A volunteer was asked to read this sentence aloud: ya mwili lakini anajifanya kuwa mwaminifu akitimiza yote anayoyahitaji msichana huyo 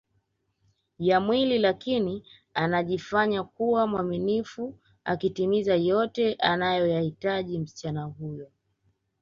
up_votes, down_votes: 3, 0